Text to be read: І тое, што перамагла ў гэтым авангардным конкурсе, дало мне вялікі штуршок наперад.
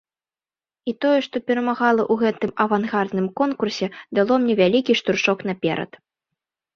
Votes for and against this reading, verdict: 0, 2, rejected